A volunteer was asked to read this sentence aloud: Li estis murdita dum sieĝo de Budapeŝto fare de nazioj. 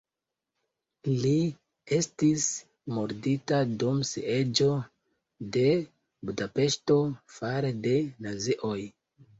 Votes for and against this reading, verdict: 2, 0, accepted